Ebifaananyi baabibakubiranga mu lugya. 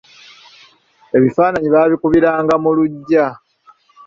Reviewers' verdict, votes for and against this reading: rejected, 1, 2